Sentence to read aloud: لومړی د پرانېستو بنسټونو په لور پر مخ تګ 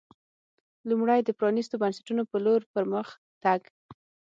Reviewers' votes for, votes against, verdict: 6, 0, accepted